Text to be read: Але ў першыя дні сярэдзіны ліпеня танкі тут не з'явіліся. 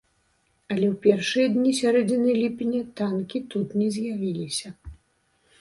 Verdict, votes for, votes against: accepted, 2, 0